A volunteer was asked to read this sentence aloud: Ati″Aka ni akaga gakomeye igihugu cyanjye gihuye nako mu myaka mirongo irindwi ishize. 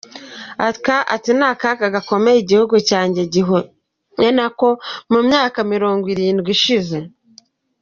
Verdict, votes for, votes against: rejected, 0, 2